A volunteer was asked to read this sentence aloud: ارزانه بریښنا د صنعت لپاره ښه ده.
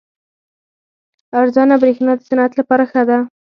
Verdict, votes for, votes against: accepted, 4, 0